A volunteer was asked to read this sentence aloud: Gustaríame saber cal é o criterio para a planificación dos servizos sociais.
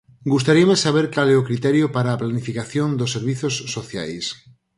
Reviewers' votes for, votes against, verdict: 6, 0, accepted